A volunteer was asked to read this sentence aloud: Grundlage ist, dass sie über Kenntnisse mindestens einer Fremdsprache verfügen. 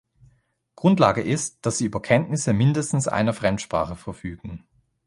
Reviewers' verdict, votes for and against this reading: accepted, 2, 0